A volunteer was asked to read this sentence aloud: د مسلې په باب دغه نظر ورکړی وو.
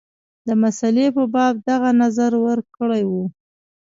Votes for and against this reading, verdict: 2, 1, accepted